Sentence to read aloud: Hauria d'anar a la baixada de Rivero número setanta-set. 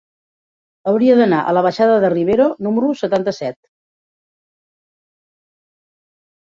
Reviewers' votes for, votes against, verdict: 0, 2, rejected